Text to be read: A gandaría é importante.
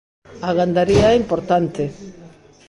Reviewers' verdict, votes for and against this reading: rejected, 0, 2